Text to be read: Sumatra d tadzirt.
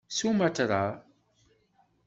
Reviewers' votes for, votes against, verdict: 1, 2, rejected